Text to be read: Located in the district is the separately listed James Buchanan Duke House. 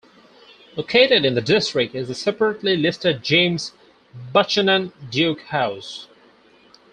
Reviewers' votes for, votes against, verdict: 0, 4, rejected